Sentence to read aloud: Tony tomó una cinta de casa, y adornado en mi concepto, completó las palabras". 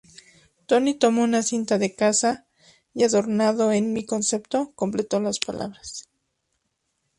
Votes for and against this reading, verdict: 2, 0, accepted